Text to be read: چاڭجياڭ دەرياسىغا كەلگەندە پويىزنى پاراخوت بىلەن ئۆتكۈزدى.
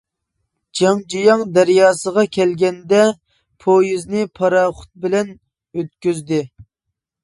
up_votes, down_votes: 1, 2